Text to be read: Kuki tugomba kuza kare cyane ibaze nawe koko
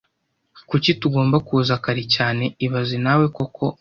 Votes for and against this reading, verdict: 2, 0, accepted